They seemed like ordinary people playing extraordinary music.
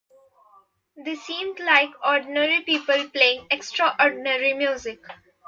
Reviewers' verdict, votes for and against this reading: accepted, 2, 0